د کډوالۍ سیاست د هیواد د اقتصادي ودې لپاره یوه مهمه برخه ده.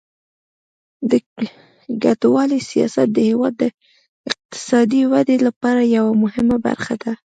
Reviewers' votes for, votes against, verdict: 1, 2, rejected